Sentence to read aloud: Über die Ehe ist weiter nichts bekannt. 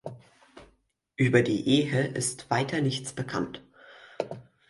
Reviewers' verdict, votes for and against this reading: accepted, 4, 0